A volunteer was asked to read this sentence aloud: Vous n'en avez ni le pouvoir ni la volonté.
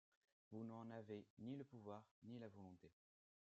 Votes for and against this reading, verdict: 2, 1, accepted